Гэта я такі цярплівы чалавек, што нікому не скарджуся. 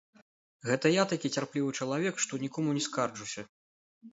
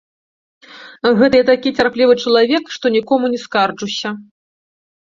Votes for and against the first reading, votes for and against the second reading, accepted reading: 1, 2, 2, 0, second